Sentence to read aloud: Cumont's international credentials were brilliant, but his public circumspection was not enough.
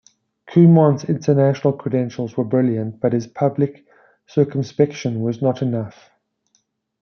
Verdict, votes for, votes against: accepted, 2, 0